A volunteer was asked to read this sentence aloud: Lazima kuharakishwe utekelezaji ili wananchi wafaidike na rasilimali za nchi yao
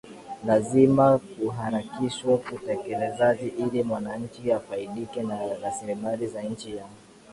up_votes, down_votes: 7, 2